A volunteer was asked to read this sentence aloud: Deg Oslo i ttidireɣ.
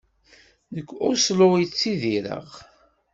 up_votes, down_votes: 2, 0